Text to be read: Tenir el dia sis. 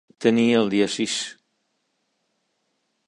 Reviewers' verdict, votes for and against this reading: accepted, 2, 0